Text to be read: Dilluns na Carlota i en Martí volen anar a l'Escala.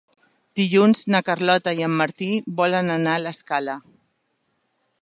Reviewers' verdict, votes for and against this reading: accepted, 3, 0